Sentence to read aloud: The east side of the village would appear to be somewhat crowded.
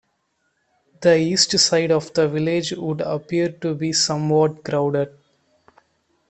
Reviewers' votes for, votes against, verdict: 2, 1, accepted